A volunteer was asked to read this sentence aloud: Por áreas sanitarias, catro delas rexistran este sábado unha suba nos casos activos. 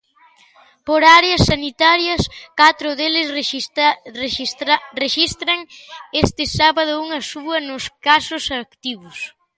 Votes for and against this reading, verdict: 0, 2, rejected